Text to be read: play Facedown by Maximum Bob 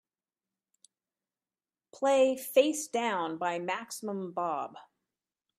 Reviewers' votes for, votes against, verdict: 2, 0, accepted